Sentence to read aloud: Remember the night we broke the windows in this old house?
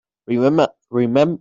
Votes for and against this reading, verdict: 0, 3, rejected